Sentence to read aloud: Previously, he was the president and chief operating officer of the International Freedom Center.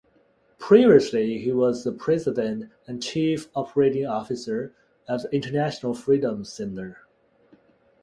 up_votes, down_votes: 2, 0